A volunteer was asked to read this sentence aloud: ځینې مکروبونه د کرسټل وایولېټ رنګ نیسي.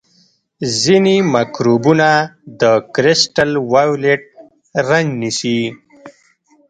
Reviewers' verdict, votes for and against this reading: rejected, 1, 2